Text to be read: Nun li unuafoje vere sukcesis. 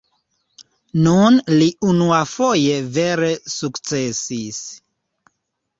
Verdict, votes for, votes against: accepted, 2, 1